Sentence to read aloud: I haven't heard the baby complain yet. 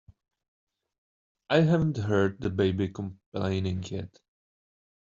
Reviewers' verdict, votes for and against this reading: rejected, 0, 2